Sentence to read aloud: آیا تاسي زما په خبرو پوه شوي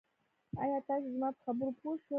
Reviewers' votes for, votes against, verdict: 0, 2, rejected